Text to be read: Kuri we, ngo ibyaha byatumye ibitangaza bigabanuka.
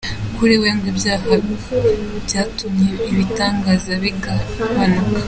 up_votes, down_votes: 2, 0